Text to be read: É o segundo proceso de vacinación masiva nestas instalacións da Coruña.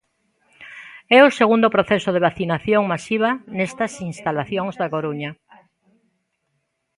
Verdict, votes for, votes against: accepted, 2, 0